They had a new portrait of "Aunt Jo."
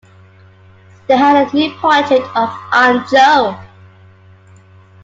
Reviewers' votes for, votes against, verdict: 0, 2, rejected